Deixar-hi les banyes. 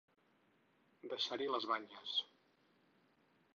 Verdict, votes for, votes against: accepted, 4, 0